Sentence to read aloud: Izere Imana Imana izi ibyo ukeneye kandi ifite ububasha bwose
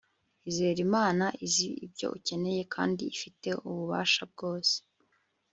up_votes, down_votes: 3, 0